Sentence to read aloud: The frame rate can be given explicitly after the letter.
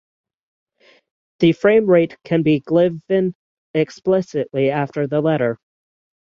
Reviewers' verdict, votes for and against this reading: rejected, 0, 6